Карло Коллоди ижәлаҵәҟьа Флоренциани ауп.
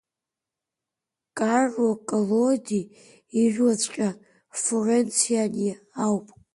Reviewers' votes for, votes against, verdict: 2, 1, accepted